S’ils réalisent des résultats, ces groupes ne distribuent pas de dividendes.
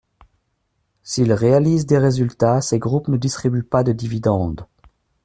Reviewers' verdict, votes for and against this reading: accepted, 2, 0